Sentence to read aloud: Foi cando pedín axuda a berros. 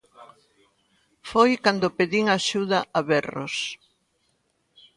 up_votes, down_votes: 2, 0